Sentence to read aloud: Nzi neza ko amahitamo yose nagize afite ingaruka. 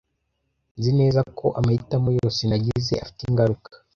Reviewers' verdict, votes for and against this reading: accepted, 2, 1